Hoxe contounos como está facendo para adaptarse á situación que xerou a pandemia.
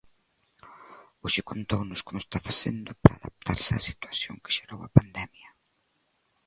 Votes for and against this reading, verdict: 1, 2, rejected